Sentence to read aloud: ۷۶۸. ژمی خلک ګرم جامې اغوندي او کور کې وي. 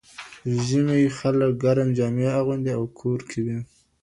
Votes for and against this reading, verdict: 0, 2, rejected